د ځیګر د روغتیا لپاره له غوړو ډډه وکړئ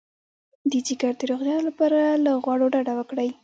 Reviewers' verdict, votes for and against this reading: rejected, 1, 2